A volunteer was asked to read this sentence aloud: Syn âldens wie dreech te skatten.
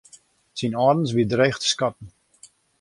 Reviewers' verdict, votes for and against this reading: accepted, 2, 0